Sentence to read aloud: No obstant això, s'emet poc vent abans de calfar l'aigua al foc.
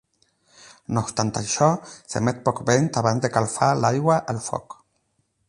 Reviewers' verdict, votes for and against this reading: rejected, 0, 8